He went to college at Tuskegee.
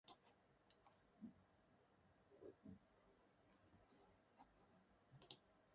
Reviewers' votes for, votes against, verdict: 0, 4, rejected